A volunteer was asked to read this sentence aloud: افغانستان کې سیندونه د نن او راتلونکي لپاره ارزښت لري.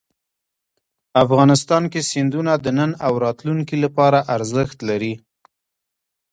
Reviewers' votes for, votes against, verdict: 2, 1, accepted